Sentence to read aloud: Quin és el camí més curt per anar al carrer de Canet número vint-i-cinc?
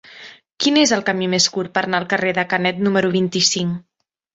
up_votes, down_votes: 1, 2